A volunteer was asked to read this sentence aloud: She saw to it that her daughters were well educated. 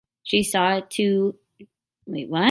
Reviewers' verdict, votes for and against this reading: rejected, 0, 2